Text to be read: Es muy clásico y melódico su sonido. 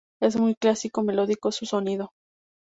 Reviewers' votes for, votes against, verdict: 2, 2, rejected